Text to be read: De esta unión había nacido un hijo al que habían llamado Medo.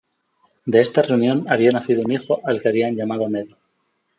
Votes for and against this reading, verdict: 1, 2, rejected